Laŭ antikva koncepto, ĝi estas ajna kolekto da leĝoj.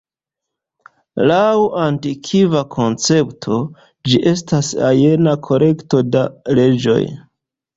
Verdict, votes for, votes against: accepted, 2, 0